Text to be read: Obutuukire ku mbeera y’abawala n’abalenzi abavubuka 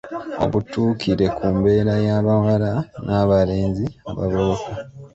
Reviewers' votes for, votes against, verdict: 2, 3, rejected